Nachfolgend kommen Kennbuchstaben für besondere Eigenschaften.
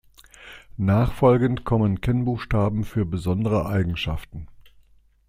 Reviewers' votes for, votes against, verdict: 4, 0, accepted